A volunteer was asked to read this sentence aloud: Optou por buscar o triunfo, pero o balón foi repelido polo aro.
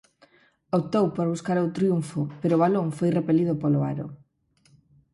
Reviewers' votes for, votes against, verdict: 4, 0, accepted